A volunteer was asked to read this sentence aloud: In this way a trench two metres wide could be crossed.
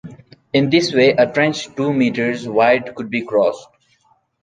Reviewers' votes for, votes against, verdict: 2, 0, accepted